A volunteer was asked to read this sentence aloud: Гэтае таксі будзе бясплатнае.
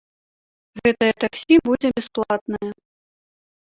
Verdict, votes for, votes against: rejected, 1, 2